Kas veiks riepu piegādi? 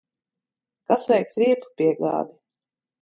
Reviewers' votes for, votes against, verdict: 1, 2, rejected